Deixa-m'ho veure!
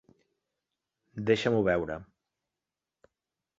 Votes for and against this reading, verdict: 4, 0, accepted